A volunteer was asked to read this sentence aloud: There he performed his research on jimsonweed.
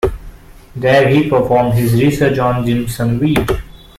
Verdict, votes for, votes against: accepted, 2, 0